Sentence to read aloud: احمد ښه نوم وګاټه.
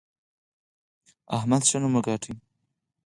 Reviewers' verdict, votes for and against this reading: accepted, 4, 0